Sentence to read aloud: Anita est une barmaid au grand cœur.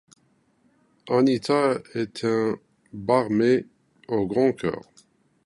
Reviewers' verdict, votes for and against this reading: rejected, 0, 2